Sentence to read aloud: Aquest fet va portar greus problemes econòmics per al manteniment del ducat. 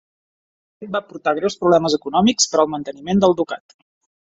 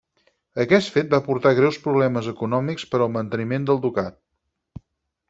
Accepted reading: second